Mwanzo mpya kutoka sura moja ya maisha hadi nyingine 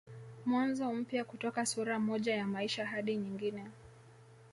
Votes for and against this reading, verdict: 0, 2, rejected